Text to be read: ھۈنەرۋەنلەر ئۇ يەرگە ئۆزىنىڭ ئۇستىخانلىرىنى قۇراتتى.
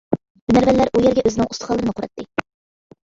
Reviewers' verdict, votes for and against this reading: rejected, 1, 2